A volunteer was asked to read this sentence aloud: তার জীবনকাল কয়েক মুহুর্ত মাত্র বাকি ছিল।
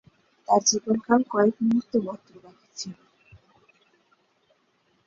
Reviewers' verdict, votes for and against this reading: rejected, 2, 2